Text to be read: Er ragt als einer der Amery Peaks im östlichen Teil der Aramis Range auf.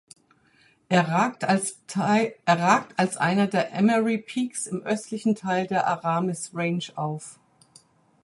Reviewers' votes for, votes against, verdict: 0, 4, rejected